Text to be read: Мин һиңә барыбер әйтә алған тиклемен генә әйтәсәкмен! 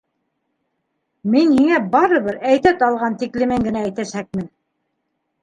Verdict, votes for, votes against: accepted, 2, 1